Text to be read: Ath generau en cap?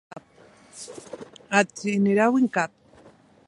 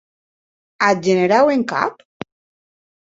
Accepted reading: second